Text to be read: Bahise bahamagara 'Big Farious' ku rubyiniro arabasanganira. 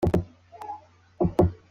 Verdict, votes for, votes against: rejected, 0, 2